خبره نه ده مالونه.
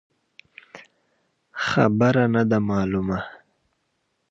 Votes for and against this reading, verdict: 2, 0, accepted